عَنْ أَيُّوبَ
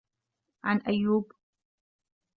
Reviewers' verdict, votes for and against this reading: accepted, 2, 0